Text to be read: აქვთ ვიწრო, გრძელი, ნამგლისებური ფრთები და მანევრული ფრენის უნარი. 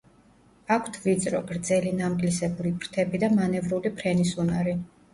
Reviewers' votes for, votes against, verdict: 2, 0, accepted